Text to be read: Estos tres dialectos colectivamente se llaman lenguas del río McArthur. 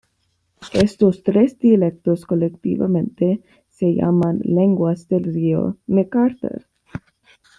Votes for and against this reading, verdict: 2, 0, accepted